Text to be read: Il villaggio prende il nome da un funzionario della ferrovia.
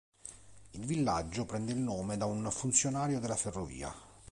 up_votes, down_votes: 2, 0